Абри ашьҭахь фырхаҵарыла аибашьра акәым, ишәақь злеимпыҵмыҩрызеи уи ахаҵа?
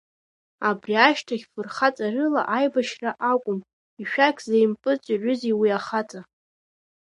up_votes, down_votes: 2, 0